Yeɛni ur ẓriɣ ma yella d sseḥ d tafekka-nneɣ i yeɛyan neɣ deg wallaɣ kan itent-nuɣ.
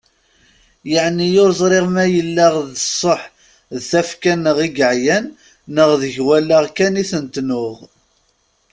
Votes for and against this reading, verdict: 2, 0, accepted